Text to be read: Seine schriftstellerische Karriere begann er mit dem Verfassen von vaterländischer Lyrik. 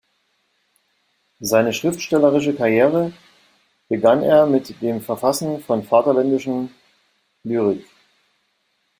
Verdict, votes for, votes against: rejected, 0, 2